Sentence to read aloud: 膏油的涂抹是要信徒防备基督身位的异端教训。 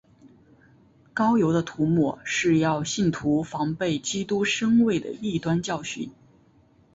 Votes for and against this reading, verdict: 2, 0, accepted